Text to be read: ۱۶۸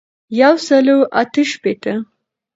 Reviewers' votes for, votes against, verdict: 0, 2, rejected